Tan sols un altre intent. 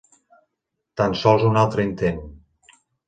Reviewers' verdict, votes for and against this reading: accepted, 4, 0